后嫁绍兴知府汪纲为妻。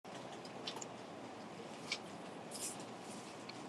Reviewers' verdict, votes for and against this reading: rejected, 0, 2